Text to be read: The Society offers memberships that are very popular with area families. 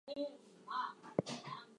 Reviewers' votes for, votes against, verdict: 0, 4, rejected